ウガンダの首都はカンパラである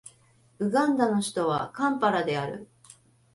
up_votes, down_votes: 2, 0